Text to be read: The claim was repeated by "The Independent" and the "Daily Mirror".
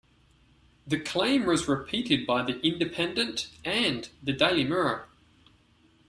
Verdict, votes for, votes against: rejected, 0, 2